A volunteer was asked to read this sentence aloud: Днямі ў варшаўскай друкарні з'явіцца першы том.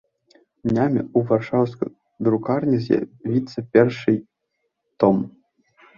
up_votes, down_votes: 1, 2